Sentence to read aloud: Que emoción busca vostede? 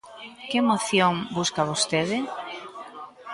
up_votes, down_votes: 2, 0